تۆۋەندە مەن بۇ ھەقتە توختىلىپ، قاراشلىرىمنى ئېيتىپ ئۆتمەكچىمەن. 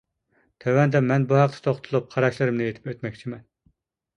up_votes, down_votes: 2, 1